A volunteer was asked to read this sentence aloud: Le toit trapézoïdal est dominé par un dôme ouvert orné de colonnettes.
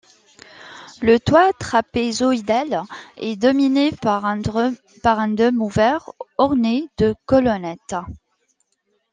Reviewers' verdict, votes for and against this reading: rejected, 1, 2